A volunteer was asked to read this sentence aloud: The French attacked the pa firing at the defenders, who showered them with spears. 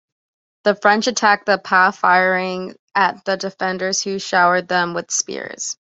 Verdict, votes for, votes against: accepted, 2, 0